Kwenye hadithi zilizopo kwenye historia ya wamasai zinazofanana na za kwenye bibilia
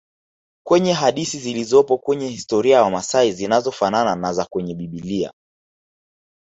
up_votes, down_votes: 1, 2